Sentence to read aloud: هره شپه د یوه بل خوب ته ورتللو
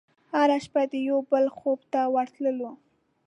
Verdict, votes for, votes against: accepted, 2, 0